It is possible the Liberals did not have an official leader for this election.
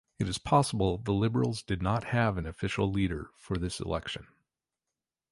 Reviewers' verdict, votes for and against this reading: accepted, 2, 0